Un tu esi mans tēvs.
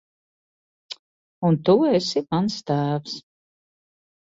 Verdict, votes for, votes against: accepted, 2, 0